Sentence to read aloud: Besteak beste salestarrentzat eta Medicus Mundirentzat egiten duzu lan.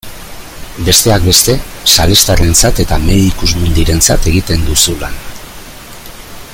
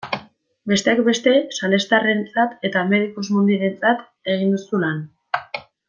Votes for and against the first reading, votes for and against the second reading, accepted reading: 2, 0, 1, 2, first